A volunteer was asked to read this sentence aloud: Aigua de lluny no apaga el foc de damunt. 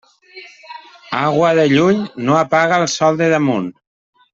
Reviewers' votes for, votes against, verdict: 1, 2, rejected